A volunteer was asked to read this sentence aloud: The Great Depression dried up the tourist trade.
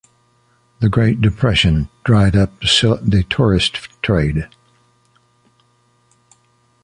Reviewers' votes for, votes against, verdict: 0, 2, rejected